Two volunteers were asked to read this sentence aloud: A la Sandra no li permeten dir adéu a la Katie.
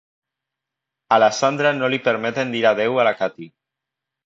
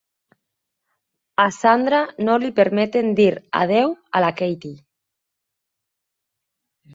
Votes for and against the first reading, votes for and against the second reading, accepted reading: 2, 1, 0, 4, first